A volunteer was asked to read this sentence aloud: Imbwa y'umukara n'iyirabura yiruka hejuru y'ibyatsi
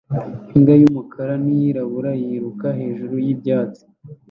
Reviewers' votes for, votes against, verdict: 2, 0, accepted